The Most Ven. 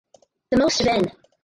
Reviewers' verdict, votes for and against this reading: rejected, 0, 2